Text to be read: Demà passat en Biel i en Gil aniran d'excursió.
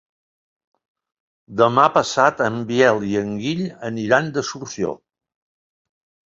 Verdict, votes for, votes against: rejected, 3, 4